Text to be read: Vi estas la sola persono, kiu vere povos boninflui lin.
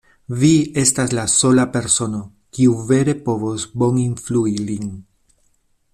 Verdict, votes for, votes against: accepted, 2, 0